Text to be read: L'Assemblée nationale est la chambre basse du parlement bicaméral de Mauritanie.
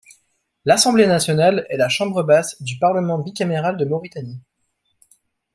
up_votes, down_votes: 2, 0